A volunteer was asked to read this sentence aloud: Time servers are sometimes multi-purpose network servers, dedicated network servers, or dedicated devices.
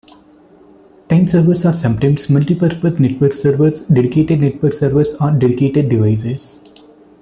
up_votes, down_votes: 0, 2